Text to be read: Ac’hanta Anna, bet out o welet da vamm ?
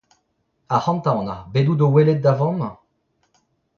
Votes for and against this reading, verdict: 0, 2, rejected